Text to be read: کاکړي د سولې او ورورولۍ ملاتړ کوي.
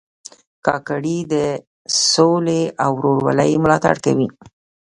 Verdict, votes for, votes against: accepted, 2, 0